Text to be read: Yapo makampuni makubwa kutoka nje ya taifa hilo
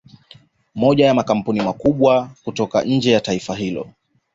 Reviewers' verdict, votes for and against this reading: accepted, 2, 0